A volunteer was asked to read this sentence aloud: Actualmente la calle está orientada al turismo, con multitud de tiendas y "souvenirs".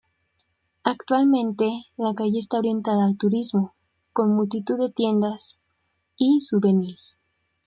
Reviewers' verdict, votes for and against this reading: accepted, 2, 0